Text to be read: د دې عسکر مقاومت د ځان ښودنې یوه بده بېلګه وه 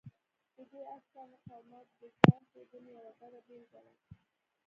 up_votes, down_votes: 0, 2